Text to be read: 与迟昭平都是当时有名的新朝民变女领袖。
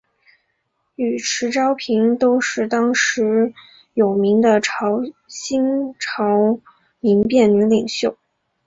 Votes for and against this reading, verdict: 3, 0, accepted